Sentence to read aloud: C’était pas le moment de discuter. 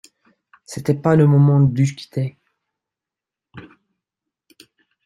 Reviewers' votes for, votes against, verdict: 1, 2, rejected